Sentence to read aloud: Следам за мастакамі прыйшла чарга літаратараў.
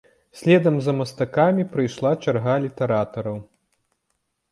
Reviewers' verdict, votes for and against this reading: accepted, 2, 0